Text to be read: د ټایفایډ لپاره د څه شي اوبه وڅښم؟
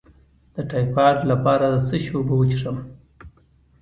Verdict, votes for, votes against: accepted, 2, 0